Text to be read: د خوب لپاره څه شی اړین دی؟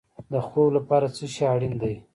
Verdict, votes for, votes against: rejected, 0, 2